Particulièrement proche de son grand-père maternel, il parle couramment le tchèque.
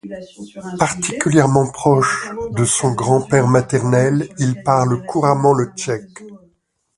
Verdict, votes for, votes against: rejected, 1, 2